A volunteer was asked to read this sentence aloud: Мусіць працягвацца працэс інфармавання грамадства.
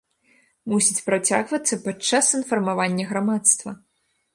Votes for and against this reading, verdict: 0, 2, rejected